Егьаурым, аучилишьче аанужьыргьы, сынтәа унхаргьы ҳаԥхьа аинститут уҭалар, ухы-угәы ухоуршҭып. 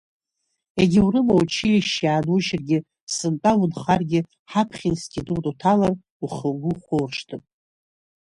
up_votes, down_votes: 0, 2